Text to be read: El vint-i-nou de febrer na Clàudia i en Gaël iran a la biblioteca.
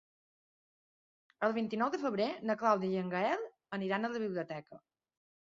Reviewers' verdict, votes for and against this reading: rejected, 2, 3